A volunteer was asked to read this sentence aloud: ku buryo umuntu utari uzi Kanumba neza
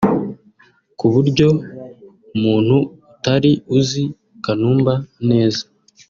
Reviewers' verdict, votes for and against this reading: accepted, 4, 0